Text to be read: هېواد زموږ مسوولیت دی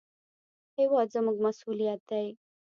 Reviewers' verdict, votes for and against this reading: rejected, 1, 2